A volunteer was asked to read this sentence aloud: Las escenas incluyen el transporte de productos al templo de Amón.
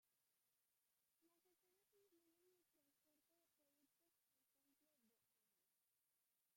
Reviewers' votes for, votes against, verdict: 0, 2, rejected